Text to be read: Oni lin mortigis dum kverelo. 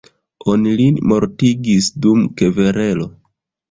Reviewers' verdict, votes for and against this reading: rejected, 1, 2